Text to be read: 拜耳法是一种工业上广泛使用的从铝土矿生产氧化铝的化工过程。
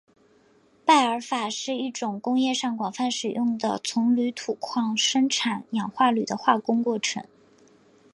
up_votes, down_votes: 2, 1